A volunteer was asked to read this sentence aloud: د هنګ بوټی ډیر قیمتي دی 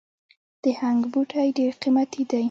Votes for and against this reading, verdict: 2, 1, accepted